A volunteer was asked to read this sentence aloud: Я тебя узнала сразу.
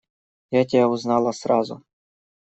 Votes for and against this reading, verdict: 2, 1, accepted